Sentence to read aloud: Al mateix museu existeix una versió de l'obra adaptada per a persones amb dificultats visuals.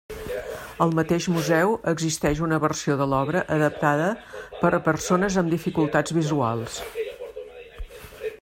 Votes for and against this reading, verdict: 1, 2, rejected